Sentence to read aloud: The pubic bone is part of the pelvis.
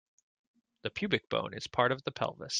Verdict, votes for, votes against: accepted, 2, 0